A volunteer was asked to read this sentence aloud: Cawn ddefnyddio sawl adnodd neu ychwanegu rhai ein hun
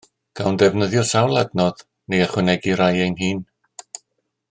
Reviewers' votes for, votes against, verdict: 2, 0, accepted